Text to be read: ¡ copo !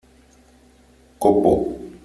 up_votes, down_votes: 3, 0